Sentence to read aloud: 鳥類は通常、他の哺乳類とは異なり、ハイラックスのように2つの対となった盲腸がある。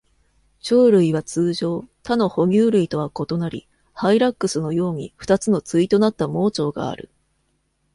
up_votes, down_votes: 0, 2